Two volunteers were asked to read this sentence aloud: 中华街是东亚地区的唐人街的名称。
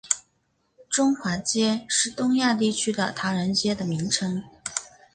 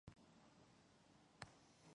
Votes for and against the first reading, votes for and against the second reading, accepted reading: 3, 0, 0, 4, first